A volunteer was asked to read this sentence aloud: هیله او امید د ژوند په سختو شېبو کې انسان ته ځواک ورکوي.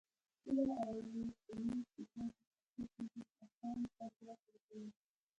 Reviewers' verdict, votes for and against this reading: rejected, 1, 2